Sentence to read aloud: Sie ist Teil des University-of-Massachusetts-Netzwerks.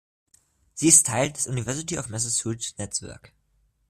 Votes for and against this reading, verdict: 1, 2, rejected